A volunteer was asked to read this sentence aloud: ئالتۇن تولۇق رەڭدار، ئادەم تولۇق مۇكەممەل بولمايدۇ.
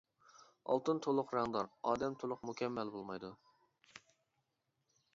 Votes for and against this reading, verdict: 2, 0, accepted